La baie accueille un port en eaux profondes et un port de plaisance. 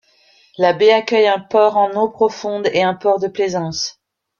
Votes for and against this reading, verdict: 0, 2, rejected